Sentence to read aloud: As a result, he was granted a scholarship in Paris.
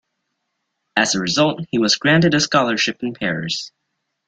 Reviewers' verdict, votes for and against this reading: accepted, 2, 0